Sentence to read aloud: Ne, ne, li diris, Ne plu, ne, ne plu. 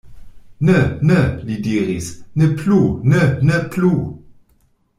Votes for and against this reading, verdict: 2, 0, accepted